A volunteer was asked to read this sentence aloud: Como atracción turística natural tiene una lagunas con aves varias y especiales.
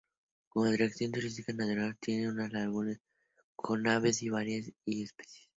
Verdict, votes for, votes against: rejected, 0, 2